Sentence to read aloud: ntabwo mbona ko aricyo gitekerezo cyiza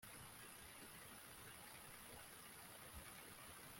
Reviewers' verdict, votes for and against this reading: rejected, 0, 2